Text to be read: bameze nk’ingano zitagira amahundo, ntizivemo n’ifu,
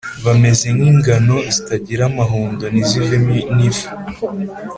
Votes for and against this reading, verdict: 4, 0, accepted